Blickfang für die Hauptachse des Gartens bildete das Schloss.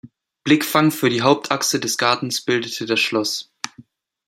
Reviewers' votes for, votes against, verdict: 2, 0, accepted